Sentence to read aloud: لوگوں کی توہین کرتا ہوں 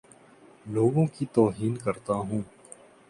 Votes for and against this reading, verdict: 2, 0, accepted